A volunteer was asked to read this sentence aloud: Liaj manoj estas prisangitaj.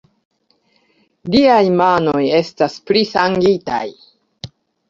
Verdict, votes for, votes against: accepted, 2, 0